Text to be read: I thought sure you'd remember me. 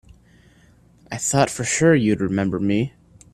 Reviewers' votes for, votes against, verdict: 0, 2, rejected